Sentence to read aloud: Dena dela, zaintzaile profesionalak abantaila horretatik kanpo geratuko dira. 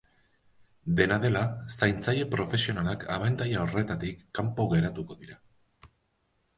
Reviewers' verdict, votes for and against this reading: accepted, 2, 0